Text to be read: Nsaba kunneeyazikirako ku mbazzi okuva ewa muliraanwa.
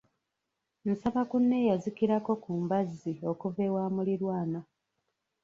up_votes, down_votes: 1, 2